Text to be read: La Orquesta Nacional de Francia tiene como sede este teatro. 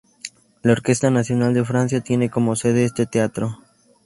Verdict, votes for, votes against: accepted, 2, 0